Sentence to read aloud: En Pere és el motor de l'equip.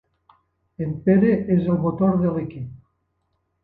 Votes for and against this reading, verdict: 1, 2, rejected